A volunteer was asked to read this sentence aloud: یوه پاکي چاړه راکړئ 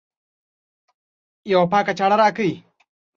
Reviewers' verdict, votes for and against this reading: accepted, 2, 0